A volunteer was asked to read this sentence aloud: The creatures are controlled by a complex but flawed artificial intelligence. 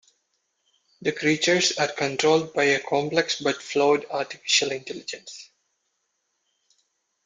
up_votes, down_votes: 0, 2